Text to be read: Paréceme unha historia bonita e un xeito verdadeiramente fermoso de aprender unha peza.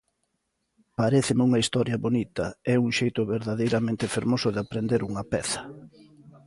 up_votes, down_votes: 3, 0